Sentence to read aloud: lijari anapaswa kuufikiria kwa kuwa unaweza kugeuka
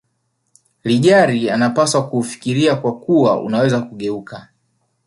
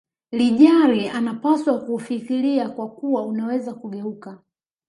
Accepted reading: first